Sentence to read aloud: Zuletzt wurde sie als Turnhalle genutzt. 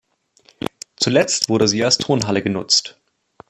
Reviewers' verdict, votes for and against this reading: accepted, 2, 0